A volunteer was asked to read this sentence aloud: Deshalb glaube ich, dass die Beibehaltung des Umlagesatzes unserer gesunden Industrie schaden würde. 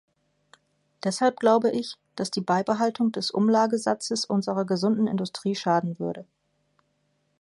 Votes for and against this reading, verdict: 2, 0, accepted